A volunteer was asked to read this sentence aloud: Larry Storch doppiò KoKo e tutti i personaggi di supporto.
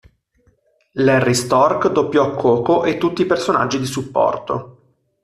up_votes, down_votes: 1, 2